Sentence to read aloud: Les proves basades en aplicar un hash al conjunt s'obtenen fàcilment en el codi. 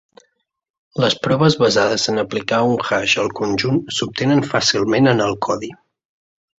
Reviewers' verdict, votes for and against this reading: accepted, 2, 0